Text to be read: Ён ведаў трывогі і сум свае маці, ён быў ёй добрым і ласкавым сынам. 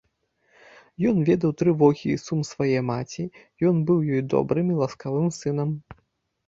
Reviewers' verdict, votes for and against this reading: accepted, 2, 0